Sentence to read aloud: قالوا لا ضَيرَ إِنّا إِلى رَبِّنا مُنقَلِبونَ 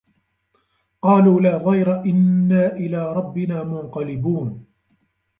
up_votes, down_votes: 0, 2